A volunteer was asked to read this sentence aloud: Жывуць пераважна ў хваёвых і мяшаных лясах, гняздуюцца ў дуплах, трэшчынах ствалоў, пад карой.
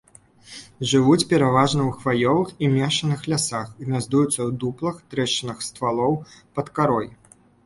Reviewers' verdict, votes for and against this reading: rejected, 1, 2